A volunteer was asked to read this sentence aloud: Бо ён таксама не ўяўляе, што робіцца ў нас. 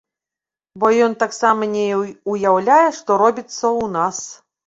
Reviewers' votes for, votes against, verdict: 1, 2, rejected